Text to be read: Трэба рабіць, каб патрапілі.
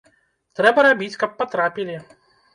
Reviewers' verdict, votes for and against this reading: rejected, 1, 2